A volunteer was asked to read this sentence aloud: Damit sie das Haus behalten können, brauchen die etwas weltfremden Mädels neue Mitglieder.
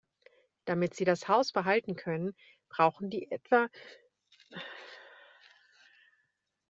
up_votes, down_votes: 0, 2